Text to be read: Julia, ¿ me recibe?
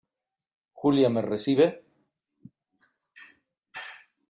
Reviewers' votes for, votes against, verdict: 2, 0, accepted